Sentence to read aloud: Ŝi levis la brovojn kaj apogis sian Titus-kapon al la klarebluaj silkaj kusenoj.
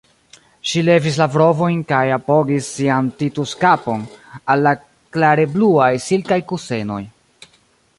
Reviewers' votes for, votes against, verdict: 1, 2, rejected